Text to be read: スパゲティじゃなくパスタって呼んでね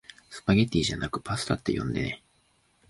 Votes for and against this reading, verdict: 2, 0, accepted